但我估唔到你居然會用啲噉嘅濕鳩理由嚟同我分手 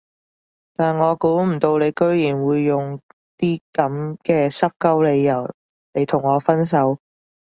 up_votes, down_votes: 2, 0